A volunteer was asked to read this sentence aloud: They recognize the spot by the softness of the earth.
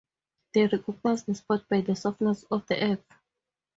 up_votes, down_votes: 0, 2